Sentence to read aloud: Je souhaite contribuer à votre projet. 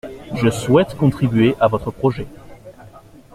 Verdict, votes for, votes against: accepted, 2, 0